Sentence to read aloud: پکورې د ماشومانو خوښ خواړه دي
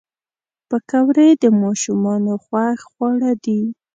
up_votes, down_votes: 1, 2